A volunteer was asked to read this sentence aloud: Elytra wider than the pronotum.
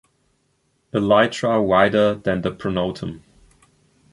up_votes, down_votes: 2, 0